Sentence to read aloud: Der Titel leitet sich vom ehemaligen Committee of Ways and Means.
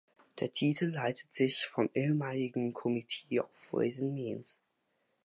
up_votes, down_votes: 0, 2